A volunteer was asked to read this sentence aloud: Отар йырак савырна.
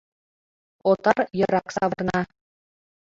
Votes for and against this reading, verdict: 2, 1, accepted